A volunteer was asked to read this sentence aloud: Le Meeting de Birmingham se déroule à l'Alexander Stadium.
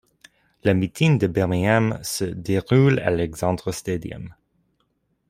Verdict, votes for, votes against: accepted, 2, 1